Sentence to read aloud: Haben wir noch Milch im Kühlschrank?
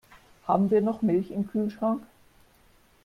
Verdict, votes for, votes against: accepted, 2, 0